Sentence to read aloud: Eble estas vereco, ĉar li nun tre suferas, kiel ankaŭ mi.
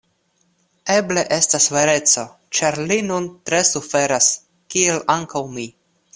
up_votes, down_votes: 2, 0